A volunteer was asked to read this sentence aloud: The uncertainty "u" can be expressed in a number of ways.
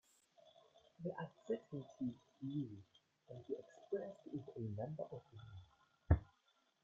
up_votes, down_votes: 1, 2